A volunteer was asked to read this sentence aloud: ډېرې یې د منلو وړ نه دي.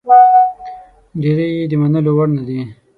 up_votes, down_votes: 0, 9